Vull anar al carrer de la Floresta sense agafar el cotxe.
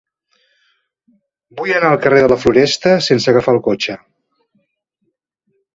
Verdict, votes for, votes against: accepted, 2, 0